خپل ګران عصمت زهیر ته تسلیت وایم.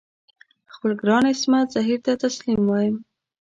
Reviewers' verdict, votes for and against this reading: rejected, 0, 2